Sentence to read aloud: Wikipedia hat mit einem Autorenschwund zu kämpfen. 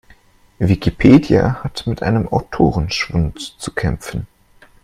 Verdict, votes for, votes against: accepted, 2, 0